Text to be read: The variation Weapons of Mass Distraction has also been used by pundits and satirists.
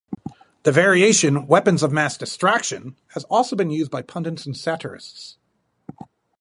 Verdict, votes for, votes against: accepted, 2, 0